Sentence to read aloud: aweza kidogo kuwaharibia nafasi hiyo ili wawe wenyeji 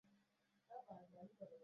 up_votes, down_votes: 0, 2